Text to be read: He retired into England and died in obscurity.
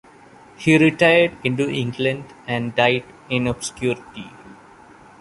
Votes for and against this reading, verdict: 2, 0, accepted